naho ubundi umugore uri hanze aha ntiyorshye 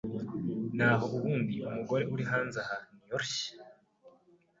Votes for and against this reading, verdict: 2, 0, accepted